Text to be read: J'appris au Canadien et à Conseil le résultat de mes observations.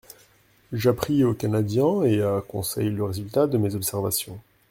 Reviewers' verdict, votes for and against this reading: accepted, 2, 0